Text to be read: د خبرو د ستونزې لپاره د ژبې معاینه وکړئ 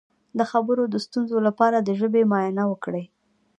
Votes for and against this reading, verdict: 0, 2, rejected